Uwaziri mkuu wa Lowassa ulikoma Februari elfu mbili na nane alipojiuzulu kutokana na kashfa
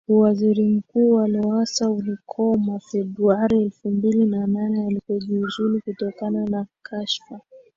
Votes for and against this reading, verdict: 2, 0, accepted